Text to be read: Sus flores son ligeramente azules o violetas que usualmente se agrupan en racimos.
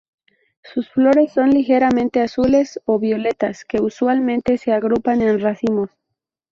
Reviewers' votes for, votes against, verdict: 4, 0, accepted